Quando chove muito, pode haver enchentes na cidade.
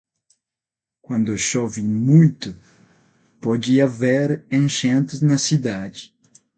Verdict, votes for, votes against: accepted, 6, 0